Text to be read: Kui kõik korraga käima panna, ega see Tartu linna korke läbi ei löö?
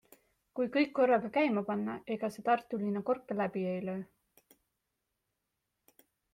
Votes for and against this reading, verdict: 2, 0, accepted